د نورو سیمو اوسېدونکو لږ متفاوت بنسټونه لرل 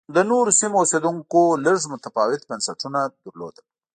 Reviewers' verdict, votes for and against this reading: accepted, 2, 1